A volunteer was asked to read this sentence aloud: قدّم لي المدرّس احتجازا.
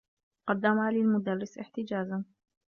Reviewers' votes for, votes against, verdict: 0, 2, rejected